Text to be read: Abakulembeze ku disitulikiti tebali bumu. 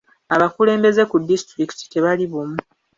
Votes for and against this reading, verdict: 2, 0, accepted